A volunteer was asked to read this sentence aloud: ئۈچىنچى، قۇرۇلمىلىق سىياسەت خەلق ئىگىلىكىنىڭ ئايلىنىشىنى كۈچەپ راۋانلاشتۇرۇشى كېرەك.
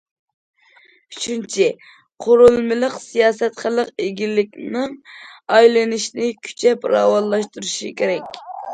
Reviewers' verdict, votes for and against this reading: accepted, 2, 1